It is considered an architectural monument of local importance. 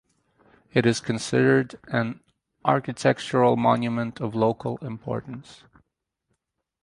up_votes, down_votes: 4, 0